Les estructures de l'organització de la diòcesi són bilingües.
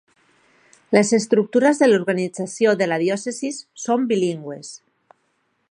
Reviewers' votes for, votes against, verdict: 1, 2, rejected